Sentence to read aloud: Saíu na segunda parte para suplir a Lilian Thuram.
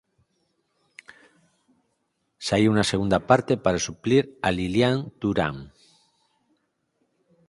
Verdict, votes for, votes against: accepted, 4, 0